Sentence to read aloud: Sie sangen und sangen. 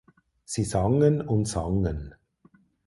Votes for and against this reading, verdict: 4, 0, accepted